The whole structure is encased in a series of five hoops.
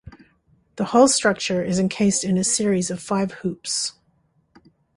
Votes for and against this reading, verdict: 2, 0, accepted